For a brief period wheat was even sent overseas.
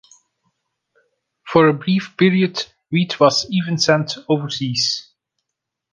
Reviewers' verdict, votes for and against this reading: accepted, 2, 0